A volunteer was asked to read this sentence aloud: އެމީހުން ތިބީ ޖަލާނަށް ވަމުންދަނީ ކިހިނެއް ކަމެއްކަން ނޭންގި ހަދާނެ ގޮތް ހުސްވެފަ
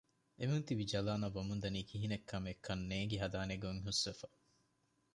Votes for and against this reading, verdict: 1, 2, rejected